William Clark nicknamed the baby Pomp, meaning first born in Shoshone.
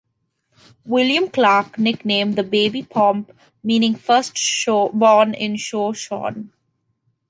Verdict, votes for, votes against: rejected, 0, 2